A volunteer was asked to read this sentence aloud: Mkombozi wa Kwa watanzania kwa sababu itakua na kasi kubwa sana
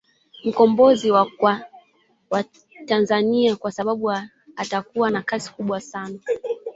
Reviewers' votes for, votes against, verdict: 1, 3, rejected